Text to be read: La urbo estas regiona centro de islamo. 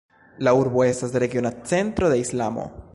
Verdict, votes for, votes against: rejected, 1, 2